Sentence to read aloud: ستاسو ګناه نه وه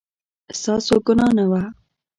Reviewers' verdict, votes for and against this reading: accepted, 2, 0